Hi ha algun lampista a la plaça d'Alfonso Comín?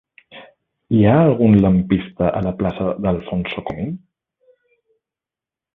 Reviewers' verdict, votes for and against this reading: rejected, 1, 2